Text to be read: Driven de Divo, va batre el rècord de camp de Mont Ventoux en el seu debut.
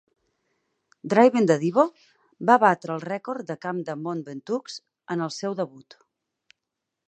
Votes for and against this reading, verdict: 2, 4, rejected